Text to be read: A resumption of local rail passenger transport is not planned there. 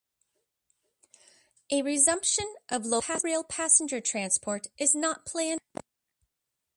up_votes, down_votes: 2, 1